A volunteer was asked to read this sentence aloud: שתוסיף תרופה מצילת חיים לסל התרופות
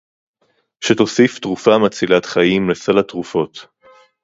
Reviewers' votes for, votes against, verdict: 2, 0, accepted